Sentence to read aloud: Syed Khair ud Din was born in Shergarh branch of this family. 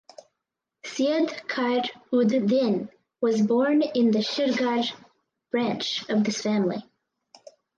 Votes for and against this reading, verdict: 0, 4, rejected